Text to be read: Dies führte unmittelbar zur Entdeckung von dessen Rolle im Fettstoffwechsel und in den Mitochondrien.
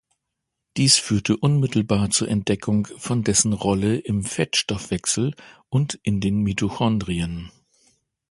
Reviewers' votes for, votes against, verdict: 2, 0, accepted